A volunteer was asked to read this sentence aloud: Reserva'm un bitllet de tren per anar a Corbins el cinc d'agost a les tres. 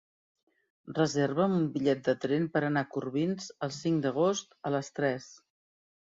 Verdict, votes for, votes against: accepted, 2, 0